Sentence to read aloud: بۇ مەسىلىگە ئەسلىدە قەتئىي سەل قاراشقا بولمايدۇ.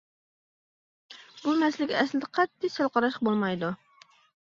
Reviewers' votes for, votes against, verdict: 2, 0, accepted